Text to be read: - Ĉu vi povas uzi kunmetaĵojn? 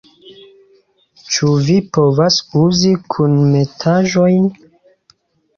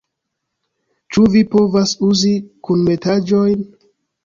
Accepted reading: first